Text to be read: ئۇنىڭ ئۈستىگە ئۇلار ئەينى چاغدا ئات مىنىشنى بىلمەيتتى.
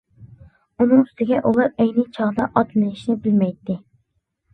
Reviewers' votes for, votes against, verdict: 2, 0, accepted